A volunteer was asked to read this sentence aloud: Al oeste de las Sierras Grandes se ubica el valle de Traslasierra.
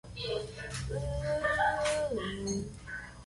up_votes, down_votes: 0, 2